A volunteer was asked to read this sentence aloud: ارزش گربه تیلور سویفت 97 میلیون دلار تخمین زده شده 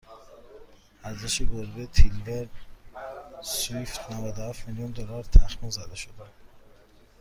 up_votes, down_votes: 0, 2